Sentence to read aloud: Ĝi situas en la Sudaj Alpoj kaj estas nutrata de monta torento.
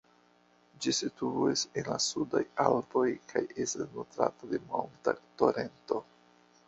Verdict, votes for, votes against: rejected, 0, 2